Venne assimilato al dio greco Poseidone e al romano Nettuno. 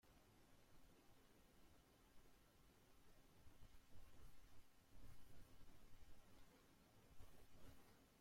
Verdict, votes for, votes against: rejected, 0, 2